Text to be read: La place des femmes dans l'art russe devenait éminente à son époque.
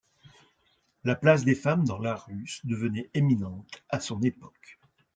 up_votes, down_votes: 2, 0